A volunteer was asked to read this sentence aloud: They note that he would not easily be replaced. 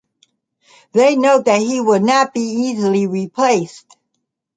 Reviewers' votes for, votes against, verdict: 0, 2, rejected